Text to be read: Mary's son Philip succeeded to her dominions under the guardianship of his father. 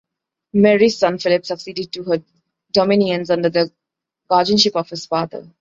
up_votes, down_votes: 2, 0